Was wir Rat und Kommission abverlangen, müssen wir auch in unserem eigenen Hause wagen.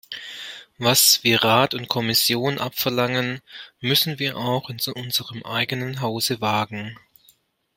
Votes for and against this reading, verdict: 1, 2, rejected